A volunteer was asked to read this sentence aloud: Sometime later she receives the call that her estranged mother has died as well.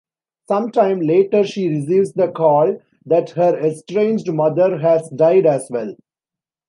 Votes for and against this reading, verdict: 2, 0, accepted